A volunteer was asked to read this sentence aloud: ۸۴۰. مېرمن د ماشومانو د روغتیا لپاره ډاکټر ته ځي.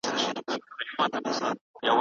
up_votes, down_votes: 0, 2